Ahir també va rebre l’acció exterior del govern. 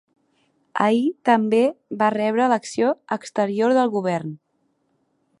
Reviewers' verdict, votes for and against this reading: accepted, 2, 0